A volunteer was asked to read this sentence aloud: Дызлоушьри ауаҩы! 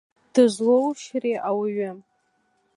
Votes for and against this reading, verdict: 3, 0, accepted